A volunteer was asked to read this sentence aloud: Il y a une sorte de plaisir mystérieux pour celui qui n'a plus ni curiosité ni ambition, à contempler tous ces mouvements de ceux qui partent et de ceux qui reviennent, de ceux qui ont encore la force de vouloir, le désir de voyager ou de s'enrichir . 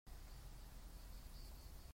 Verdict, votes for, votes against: rejected, 0, 2